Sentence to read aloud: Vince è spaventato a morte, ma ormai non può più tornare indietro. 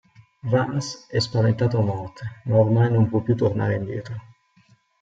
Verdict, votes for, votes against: rejected, 0, 2